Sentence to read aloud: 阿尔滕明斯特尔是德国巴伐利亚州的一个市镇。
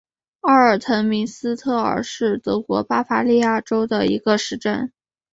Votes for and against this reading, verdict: 6, 1, accepted